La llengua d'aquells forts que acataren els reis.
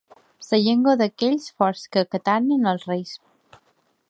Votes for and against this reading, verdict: 0, 2, rejected